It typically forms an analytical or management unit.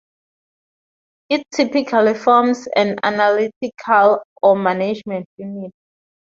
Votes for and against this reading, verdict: 0, 2, rejected